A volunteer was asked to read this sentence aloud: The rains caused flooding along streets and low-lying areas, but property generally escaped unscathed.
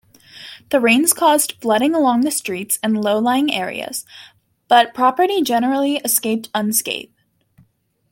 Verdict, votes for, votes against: rejected, 0, 2